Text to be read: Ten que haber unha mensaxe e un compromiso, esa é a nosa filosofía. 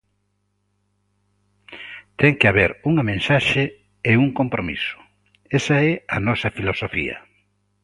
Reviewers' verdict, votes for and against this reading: accepted, 2, 0